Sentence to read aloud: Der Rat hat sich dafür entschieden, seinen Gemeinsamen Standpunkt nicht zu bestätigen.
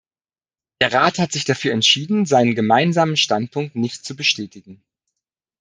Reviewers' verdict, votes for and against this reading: accepted, 2, 1